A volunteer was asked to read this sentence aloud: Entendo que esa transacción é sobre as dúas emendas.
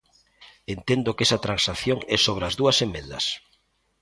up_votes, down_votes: 0, 2